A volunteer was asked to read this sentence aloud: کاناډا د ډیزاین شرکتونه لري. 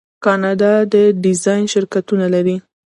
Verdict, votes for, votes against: rejected, 0, 2